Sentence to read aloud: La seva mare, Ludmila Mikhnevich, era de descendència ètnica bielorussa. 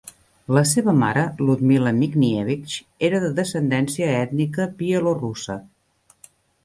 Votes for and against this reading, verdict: 0, 2, rejected